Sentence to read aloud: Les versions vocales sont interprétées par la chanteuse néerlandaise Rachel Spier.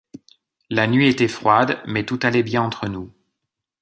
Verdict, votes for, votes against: rejected, 0, 3